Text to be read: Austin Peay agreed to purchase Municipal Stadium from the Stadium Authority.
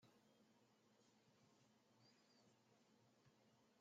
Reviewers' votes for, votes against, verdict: 0, 2, rejected